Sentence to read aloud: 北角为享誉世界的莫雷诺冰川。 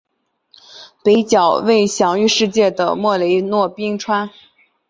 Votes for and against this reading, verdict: 2, 1, accepted